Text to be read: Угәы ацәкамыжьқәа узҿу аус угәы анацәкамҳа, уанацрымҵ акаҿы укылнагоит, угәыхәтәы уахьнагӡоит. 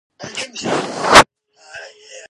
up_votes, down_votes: 0, 2